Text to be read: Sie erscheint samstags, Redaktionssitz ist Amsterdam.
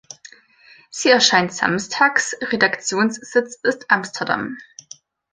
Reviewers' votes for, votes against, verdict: 2, 0, accepted